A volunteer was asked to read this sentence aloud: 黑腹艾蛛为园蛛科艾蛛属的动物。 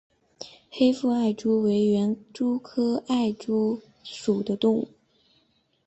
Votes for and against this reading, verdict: 2, 1, accepted